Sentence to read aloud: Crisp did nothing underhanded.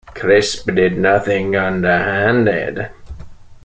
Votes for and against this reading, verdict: 2, 0, accepted